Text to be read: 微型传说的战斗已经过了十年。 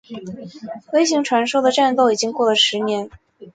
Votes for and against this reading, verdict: 2, 0, accepted